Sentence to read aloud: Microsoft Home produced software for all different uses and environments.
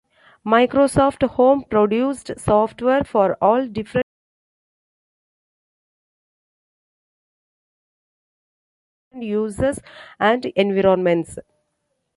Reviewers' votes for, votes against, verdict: 0, 2, rejected